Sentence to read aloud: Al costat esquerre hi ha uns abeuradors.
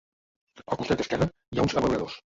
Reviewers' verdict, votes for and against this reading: rejected, 1, 2